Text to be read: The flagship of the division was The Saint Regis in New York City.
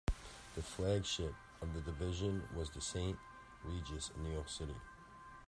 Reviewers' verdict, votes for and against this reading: accepted, 2, 0